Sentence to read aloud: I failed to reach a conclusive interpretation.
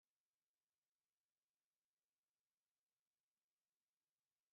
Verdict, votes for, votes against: rejected, 0, 3